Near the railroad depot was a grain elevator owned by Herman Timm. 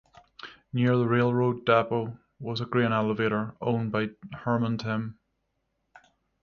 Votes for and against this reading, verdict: 0, 3, rejected